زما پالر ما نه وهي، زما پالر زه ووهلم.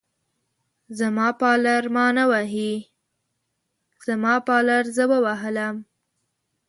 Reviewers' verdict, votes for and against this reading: rejected, 1, 2